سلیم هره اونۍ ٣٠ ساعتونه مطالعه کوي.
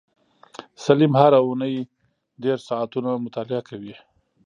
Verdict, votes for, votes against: rejected, 0, 2